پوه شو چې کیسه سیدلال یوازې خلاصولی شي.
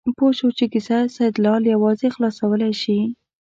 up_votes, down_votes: 2, 0